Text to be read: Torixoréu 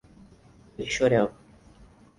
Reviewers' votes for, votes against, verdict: 2, 4, rejected